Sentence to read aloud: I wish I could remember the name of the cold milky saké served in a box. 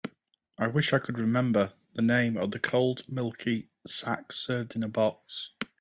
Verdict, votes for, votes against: rejected, 0, 2